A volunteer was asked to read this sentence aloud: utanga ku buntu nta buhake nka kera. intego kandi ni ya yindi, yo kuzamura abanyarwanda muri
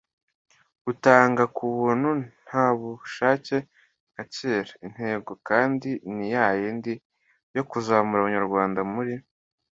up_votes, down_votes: 2, 1